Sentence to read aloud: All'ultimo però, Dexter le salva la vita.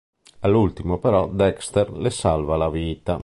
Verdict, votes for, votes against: accepted, 3, 0